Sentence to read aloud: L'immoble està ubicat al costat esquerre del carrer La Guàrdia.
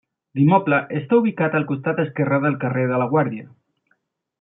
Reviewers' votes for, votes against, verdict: 2, 0, accepted